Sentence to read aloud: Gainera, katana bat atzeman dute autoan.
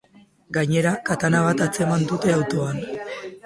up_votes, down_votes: 4, 0